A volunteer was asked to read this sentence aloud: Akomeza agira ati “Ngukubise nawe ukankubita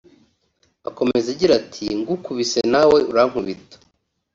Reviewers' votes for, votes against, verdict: 2, 3, rejected